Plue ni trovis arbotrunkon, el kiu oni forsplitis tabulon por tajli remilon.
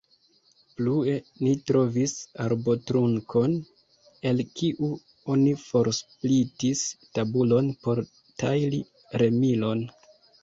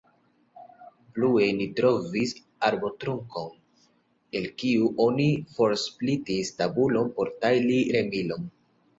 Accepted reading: first